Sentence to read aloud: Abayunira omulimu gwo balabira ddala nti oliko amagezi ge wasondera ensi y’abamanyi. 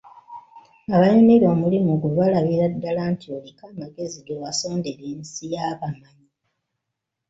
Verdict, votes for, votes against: accepted, 2, 0